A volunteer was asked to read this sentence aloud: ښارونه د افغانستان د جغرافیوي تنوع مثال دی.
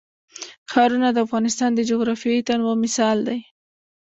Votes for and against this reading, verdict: 2, 0, accepted